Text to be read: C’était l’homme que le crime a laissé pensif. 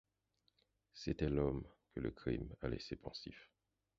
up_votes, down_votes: 0, 4